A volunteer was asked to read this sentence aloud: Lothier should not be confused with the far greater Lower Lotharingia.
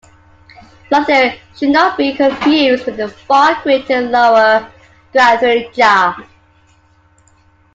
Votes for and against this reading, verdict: 0, 2, rejected